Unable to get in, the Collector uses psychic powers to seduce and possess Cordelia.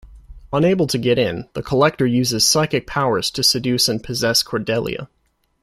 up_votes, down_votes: 2, 1